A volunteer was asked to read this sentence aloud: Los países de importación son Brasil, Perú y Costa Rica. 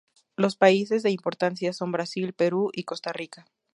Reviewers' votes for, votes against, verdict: 2, 0, accepted